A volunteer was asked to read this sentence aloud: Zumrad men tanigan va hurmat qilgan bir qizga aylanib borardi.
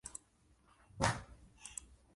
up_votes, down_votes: 0, 2